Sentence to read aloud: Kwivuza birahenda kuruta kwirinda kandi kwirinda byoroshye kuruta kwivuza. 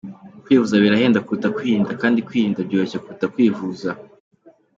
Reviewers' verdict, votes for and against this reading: accepted, 2, 0